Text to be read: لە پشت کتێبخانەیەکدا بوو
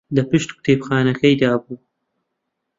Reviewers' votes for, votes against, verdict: 0, 2, rejected